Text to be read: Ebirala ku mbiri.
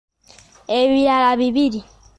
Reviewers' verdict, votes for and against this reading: rejected, 0, 2